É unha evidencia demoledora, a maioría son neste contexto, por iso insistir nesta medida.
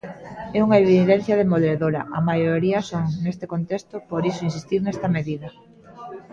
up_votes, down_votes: 2, 0